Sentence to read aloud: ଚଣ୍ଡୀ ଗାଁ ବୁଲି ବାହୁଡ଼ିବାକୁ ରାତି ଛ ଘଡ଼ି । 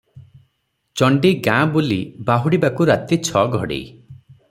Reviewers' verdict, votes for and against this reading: accepted, 6, 0